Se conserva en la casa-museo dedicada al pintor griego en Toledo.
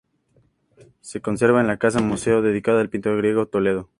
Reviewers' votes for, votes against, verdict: 2, 0, accepted